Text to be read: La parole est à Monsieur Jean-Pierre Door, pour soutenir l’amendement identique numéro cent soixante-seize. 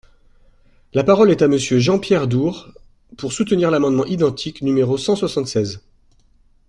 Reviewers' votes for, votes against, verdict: 1, 2, rejected